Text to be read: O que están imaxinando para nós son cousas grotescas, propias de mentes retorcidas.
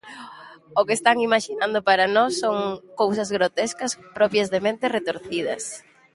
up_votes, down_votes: 2, 0